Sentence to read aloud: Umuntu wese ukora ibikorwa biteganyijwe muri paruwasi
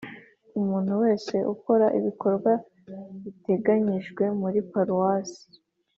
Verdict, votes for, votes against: accepted, 2, 0